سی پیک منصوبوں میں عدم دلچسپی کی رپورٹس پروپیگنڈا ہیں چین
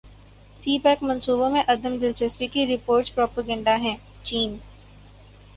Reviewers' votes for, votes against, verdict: 2, 0, accepted